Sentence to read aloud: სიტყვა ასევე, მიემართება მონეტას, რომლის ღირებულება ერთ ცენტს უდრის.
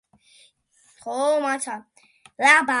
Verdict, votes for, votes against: rejected, 0, 2